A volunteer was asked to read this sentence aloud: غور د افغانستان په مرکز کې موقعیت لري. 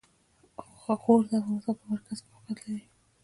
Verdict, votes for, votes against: rejected, 1, 2